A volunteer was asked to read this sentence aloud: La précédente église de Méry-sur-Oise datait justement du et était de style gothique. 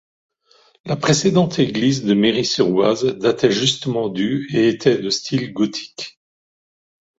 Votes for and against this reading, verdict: 2, 0, accepted